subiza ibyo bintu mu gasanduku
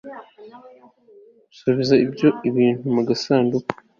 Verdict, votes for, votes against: accepted, 2, 0